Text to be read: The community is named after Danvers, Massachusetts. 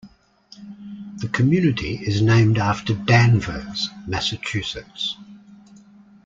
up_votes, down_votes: 2, 0